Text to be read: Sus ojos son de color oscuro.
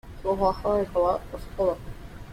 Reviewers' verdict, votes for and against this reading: rejected, 0, 2